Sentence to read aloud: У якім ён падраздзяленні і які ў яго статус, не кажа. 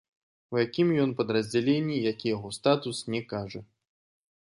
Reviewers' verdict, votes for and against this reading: accepted, 2, 0